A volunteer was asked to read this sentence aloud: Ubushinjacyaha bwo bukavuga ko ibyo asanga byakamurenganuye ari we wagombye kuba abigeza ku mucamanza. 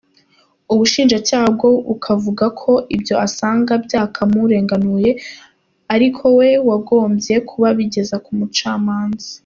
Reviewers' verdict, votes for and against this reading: accepted, 2, 1